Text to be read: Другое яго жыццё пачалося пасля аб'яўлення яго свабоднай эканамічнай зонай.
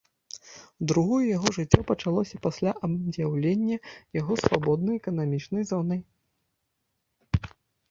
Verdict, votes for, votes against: rejected, 0, 2